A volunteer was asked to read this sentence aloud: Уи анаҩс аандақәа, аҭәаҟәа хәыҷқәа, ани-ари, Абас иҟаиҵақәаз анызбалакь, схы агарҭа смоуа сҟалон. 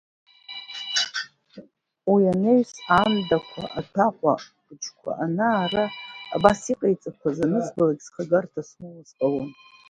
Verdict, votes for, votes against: rejected, 1, 2